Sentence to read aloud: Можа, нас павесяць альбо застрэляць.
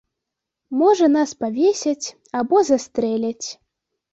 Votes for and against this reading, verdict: 1, 2, rejected